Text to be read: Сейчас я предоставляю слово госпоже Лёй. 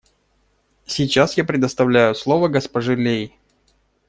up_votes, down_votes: 0, 2